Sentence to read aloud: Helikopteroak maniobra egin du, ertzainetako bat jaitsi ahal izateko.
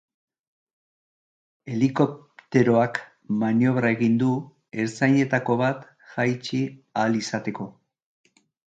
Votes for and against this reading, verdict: 1, 2, rejected